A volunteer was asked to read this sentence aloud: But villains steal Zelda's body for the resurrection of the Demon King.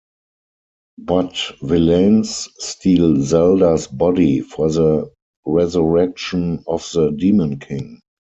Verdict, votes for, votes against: rejected, 2, 4